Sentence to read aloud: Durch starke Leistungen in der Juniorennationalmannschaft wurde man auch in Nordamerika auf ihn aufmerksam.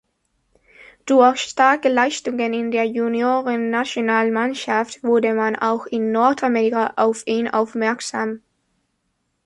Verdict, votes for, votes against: rejected, 0, 2